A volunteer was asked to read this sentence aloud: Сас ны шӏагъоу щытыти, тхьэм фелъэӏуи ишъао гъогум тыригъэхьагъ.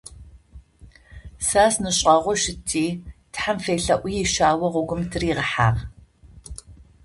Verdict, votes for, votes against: accepted, 2, 0